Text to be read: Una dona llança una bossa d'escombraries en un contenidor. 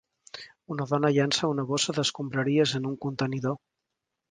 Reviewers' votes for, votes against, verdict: 2, 1, accepted